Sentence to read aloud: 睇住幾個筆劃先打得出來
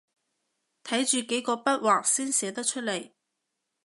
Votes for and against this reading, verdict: 0, 2, rejected